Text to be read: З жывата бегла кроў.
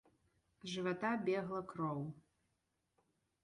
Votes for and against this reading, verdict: 3, 0, accepted